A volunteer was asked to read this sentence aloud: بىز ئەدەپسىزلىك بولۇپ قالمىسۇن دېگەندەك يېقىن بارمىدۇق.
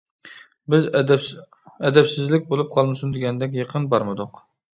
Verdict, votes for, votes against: rejected, 1, 2